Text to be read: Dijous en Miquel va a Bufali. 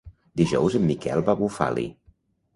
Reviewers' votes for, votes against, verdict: 2, 0, accepted